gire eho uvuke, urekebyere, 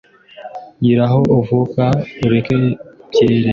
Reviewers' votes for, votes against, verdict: 0, 2, rejected